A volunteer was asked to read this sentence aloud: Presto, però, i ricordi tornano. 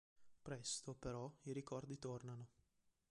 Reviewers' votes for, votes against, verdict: 2, 0, accepted